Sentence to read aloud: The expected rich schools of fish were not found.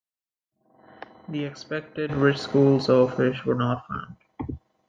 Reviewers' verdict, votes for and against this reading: accepted, 2, 1